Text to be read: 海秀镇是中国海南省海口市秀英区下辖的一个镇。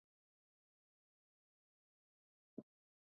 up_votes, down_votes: 0, 2